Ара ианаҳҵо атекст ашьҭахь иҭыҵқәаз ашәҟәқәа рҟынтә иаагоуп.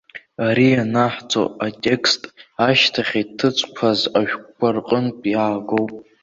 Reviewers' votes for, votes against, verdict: 2, 1, accepted